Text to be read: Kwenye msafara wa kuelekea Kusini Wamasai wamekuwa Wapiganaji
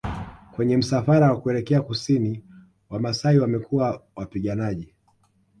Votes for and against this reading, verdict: 2, 0, accepted